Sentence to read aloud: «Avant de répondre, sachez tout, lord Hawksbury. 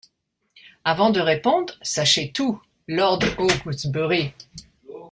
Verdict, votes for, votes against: rejected, 1, 2